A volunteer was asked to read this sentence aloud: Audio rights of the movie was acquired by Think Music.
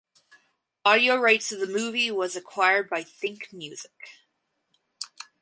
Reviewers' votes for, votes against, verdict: 2, 2, rejected